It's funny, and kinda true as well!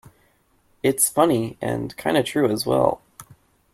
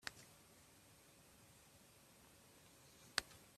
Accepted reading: first